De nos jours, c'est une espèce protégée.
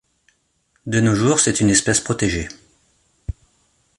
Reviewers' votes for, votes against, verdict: 2, 0, accepted